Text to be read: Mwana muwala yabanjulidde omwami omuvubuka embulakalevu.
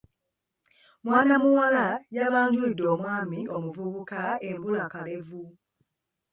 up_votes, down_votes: 0, 2